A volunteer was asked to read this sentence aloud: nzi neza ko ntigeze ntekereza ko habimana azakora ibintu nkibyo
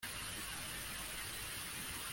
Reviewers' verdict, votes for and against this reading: rejected, 0, 2